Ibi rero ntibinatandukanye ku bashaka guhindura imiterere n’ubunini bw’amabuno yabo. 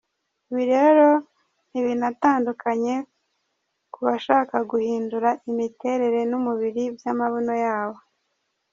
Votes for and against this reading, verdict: 0, 2, rejected